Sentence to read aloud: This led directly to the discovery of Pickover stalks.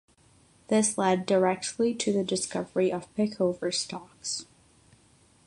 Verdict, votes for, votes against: accepted, 6, 0